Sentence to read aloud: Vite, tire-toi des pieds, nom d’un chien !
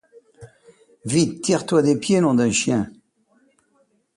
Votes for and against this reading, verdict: 2, 0, accepted